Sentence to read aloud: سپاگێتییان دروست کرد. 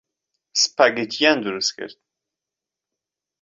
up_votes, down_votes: 2, 0